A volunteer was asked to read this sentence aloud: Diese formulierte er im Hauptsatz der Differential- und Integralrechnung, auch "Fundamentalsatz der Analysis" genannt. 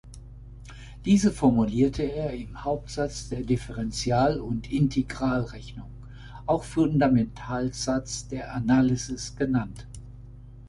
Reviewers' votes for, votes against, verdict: 2, 0, accepted